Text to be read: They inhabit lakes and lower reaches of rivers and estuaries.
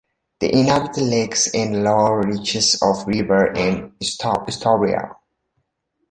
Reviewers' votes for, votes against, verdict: 0, 2, rejected